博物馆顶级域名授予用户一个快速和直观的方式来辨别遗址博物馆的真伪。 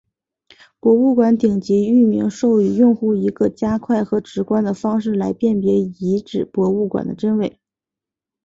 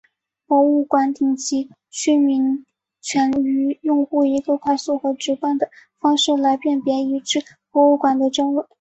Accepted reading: first